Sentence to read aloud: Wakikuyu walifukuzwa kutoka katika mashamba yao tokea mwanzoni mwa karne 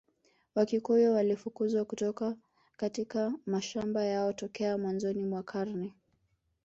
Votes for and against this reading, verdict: 2, 0, accepted